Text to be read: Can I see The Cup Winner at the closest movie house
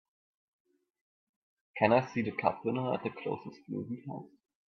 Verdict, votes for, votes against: accepted, 2, 1